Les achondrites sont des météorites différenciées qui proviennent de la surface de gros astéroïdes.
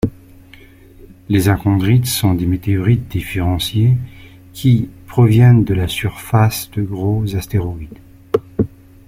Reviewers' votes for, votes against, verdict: 2, 0, accepted